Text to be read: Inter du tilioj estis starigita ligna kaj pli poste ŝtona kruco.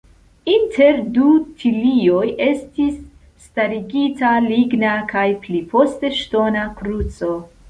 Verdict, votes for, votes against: accepted, 2, 0